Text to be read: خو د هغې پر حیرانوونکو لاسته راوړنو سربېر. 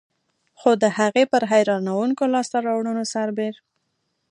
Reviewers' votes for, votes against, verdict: 2, 0, accepted